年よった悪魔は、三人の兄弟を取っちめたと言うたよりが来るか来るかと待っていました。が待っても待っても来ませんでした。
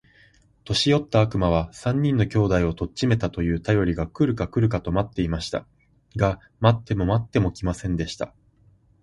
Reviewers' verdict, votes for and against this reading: accepted, 2, 0